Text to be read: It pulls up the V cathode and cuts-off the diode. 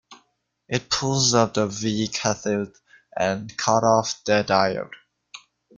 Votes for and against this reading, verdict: 0, 2, rejected